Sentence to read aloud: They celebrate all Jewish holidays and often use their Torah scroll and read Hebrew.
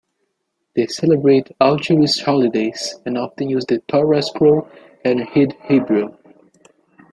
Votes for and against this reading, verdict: 1, 2, rejected